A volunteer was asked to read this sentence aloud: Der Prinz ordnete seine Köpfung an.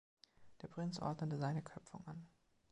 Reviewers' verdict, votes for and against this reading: accepted, 2, 0